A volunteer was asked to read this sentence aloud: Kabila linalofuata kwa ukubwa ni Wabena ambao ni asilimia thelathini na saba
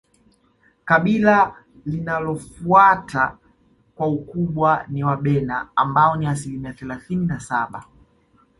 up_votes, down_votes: 1, 2